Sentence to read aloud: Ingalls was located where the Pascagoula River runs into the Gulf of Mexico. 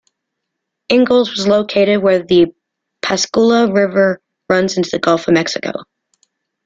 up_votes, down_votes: 0, 2